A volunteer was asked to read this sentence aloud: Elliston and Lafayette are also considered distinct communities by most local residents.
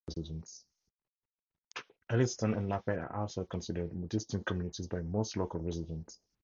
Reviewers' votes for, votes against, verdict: 0, 2, rejected